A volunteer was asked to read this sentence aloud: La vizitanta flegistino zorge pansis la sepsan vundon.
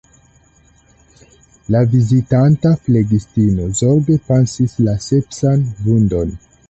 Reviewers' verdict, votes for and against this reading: accepted, 2, 1